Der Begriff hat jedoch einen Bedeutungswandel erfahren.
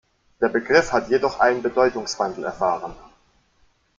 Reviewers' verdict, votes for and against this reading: accepted, 2, 0